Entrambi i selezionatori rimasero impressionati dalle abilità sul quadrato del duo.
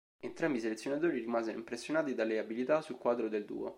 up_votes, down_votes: 1, 2